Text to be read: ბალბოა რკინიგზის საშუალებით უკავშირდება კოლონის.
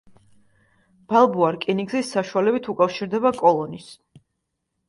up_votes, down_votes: 2, 0